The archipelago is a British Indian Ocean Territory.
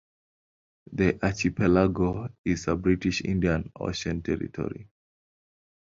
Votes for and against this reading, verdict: 2, 0, accepted